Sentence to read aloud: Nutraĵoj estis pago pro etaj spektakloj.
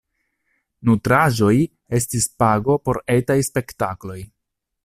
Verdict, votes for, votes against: rejected, 1, 2